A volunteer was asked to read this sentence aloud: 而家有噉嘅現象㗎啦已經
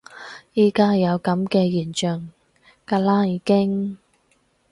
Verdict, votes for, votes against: rejected, 0, 4